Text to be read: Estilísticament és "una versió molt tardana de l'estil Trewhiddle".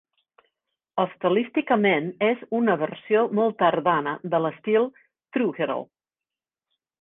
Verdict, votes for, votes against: rejected, 0, 2